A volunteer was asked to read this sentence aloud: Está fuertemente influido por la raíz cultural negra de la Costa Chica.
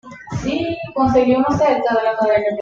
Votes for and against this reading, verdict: 1, 2, rejected